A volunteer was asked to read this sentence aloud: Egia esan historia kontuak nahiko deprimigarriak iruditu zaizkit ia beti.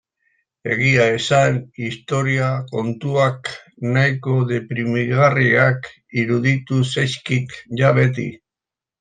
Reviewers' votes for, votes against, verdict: 0, 2, rejected